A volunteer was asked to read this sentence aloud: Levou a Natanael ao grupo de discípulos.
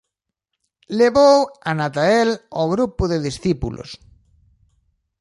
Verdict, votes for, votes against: rejected, 0, 2